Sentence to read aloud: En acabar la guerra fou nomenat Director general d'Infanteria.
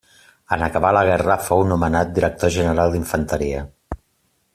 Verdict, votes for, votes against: accepted, 3, 0